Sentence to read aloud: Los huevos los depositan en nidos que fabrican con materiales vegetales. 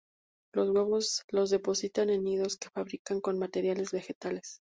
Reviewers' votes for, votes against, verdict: 2, 2, rejected